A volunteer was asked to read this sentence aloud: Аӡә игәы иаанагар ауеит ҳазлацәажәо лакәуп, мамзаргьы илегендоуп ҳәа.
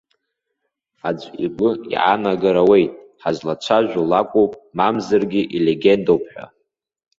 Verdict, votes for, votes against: accepted, 2, 1